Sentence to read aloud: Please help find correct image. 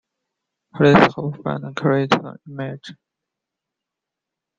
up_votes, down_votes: 0, 2